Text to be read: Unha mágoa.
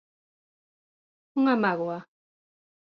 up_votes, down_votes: 2, 0